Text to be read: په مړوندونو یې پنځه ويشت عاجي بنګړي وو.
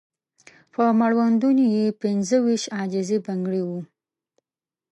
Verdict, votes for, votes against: rejected, 0, 2